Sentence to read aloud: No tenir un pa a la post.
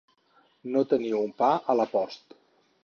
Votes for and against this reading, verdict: 4, 0, accepted